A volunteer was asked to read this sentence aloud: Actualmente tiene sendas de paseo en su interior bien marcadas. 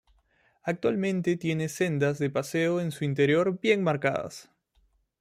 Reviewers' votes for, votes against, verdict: 2, 1, accepted